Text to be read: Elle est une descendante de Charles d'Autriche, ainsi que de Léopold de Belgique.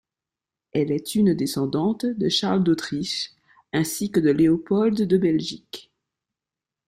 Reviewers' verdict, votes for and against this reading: rejected, 1, 2